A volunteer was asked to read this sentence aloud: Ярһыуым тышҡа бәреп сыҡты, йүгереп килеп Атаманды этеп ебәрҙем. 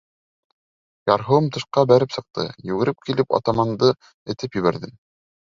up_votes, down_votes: 2, 0